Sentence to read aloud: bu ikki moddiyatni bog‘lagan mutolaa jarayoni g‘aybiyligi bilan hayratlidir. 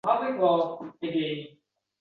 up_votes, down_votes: 0, 2